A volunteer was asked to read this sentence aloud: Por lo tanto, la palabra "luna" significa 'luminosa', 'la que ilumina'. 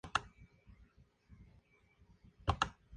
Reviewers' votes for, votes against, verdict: 0, 2, rejected